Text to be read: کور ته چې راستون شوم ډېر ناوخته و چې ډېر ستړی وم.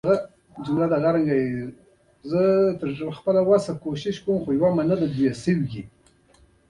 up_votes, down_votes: 3, 2